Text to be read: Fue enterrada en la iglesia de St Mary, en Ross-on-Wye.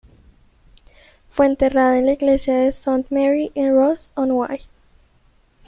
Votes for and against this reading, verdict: 1, 2, rejected